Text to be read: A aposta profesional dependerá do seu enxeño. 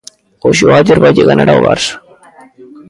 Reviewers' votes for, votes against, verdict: 0, 2, rejected